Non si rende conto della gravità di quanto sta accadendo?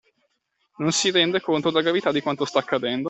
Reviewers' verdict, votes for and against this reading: accepted, 2, 1